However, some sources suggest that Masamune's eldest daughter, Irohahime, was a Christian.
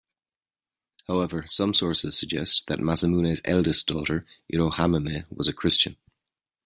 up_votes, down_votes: 2, 1